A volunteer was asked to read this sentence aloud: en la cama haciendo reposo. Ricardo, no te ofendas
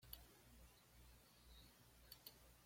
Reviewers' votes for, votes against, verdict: 0, 2, rejected